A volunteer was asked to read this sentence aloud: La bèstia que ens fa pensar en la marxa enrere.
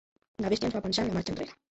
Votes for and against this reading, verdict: 0, 2, rejected